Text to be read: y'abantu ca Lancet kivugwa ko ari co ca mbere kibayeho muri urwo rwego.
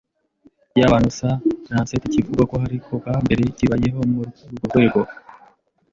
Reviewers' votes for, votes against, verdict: 1, 2, rejected